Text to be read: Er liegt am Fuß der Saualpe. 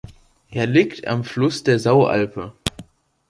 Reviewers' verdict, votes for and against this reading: rejected, 0, 2